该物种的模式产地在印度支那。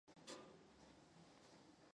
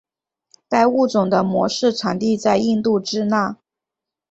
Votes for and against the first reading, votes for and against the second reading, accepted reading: 0, 2, 8, 0, second